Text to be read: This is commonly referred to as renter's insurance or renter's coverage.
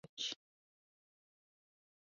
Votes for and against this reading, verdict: 0, 2, rejected